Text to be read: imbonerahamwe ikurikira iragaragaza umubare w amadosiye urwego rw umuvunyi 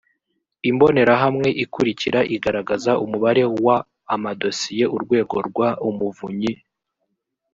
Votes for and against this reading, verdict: 1, 2, rejected